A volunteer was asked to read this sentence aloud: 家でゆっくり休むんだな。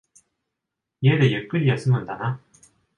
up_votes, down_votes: 2, 0